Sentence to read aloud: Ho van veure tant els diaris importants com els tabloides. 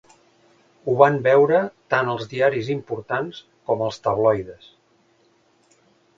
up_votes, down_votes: 2, 0